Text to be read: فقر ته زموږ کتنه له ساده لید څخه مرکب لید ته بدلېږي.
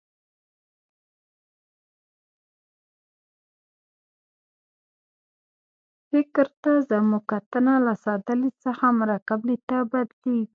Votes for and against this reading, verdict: 1, 2, rejected